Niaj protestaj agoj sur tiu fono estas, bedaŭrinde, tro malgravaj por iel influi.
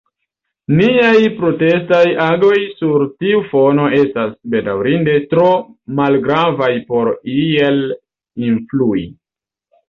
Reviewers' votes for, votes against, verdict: 2, 0, accepted